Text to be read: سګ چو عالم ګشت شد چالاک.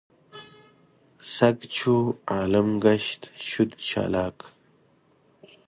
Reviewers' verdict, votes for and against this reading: accepted, 2, 0